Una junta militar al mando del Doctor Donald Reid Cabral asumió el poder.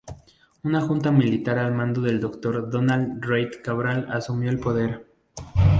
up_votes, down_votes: 0, 2